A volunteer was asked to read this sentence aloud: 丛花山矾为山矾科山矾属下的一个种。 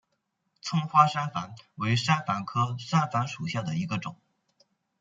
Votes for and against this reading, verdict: 2, 1, accepted